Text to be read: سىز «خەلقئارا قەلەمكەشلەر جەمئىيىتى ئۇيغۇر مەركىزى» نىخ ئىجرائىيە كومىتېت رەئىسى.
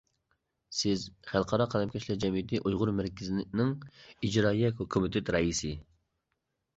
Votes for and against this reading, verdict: 0, 2, rejected